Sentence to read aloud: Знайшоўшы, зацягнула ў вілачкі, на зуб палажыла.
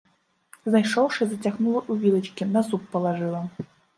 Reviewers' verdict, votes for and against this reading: rejected, 0, 2